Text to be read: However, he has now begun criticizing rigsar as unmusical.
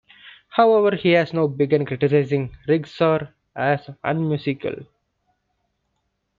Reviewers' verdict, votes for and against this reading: accepted, 2, 0